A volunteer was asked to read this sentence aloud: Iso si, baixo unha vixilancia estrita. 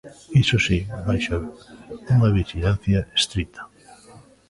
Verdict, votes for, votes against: rejected, 1, 2